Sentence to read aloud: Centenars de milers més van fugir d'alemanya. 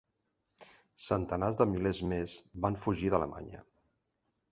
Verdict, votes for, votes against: accepted, 5, 0